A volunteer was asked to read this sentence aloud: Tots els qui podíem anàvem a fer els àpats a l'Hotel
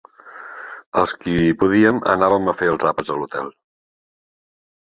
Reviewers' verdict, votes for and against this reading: rejected, 0, 2